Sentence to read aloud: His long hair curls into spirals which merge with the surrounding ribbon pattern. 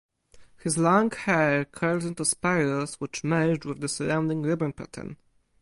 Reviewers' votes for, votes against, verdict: 2, 2, rejected